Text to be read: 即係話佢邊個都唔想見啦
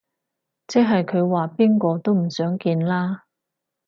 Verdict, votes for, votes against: rejected, 2, 4